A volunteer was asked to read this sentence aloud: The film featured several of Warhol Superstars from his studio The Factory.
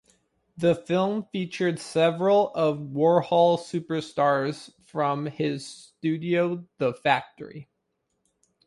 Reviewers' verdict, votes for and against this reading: accepted, 2, 1